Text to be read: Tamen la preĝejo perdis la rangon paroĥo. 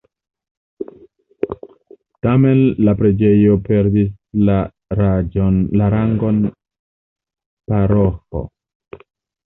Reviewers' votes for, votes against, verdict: 0, 2, rejected